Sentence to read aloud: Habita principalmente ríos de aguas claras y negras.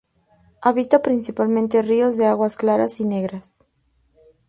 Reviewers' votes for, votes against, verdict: 4, 0, accepted